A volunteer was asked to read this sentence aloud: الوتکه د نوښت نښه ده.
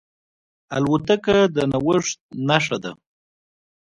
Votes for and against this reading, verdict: 1, 2, rejected